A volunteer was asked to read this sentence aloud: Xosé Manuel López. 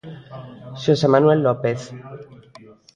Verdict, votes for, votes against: rejected, 0, 2